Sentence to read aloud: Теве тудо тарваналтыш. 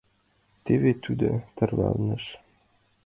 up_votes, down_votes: 1, 2